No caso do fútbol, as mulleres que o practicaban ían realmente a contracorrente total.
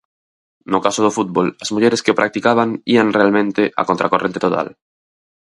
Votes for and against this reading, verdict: 4, 0, accepted